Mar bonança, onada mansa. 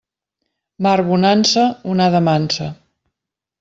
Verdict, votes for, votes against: accepted, 3, 0